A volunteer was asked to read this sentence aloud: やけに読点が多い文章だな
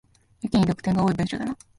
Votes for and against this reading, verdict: 2, 3, rejected